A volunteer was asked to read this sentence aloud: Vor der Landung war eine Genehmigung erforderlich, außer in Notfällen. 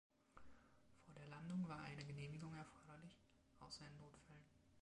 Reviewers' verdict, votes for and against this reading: rejected, 1, 2